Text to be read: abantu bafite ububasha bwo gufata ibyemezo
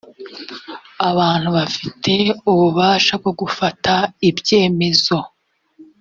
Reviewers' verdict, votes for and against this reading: accepted, 2, 0